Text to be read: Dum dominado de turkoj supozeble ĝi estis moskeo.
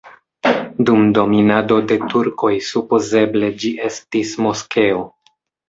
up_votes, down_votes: 3, 0